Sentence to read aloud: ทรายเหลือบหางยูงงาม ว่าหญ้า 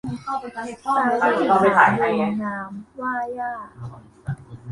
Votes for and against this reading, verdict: 1, 2, rejected